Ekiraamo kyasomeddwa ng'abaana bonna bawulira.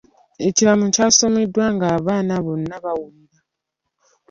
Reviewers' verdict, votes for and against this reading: accepted, 2, 0